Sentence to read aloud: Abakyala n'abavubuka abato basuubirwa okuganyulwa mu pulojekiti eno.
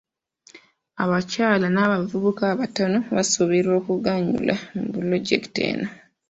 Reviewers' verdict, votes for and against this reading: rejected, 0, 2